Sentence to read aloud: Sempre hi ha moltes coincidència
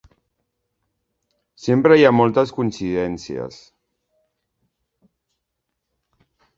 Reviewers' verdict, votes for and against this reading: rejected, 0, 2